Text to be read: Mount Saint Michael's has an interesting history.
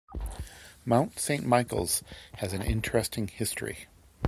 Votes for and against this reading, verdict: 2, 0, accepted